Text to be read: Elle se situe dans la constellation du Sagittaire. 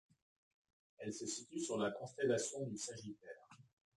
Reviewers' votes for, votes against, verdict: 1, 2, rejected